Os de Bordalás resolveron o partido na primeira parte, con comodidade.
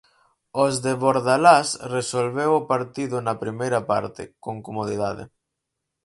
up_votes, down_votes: 0, 4